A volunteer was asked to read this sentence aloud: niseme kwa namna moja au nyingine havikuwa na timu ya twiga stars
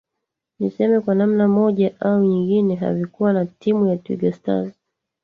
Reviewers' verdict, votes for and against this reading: rejected, 1, 2